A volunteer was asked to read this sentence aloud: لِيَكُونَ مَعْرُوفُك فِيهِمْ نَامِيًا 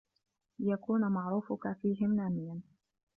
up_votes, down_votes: 1, 2